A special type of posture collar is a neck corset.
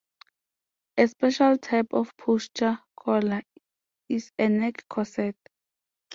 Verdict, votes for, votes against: accepted, 2, 0